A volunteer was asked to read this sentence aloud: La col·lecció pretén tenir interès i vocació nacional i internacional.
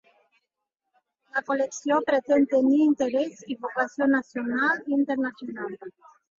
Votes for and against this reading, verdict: 1, 2, rejected